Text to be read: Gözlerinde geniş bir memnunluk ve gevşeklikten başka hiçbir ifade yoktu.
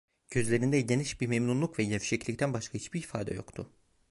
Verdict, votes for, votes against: rejected, 0, 2